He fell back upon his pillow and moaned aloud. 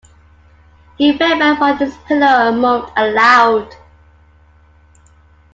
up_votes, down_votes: 0, 2